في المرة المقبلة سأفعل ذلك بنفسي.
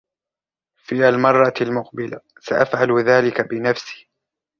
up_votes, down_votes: 1, 2